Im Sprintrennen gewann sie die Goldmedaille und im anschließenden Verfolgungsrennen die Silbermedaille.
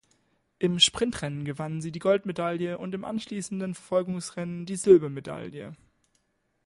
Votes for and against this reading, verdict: 2, 0, accepted